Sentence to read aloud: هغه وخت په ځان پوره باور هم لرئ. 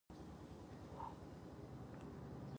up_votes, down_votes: 0, 2